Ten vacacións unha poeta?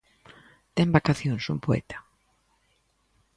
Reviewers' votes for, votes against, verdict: 0, 2, rejected